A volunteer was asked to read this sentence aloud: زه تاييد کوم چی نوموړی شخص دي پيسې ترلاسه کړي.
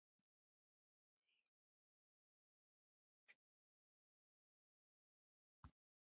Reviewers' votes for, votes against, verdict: 0, 2, rejected